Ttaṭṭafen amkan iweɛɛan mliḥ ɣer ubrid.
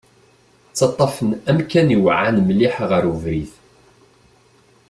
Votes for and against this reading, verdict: 2, 0, accepted